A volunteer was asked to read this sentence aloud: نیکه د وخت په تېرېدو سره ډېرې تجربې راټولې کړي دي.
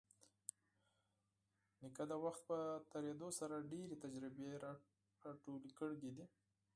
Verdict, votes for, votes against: rejected, 0, 4